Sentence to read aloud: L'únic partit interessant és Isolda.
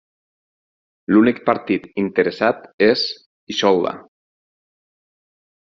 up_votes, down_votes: 0, 4